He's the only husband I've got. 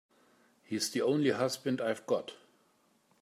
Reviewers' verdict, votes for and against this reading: accepted, 3, 0